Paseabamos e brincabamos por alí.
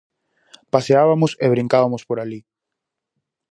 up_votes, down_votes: 0, 4